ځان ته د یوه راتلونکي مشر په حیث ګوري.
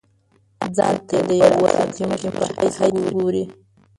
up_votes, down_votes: 1, 2